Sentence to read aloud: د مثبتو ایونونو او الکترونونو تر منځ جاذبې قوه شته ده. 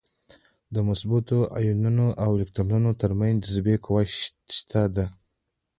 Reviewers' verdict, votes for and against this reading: accepted, 2, 1